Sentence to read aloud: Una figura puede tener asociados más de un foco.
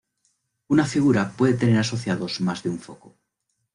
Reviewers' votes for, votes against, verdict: 2, 0, accepted